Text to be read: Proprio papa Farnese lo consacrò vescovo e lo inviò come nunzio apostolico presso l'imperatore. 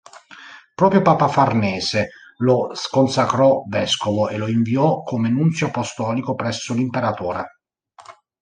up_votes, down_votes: 0, 2